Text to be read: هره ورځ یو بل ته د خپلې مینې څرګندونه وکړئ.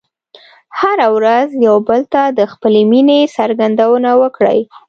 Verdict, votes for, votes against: accepted, 2, 1